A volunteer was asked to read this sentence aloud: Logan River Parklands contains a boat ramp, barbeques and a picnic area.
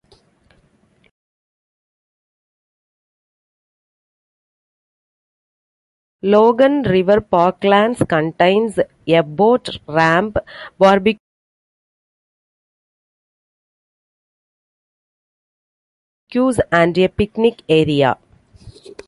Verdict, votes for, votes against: rejected, 0, 2